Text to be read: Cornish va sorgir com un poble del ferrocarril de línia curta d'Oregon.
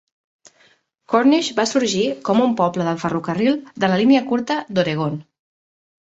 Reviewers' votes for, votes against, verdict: 2, 3, rejected